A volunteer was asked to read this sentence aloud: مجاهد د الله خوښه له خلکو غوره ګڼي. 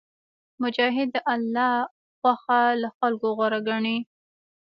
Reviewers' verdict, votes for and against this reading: rejected, 0, 2